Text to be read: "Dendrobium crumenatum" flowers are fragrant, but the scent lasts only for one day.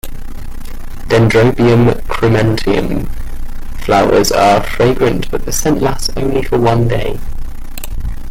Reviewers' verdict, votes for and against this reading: rejected, 1, 2